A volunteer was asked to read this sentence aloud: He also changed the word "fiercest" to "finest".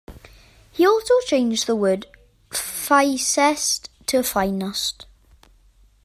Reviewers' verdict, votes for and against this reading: rejected, 1, 2